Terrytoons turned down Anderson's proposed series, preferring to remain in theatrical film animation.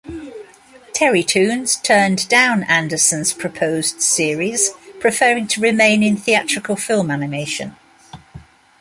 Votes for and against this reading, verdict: 2, 0, accepted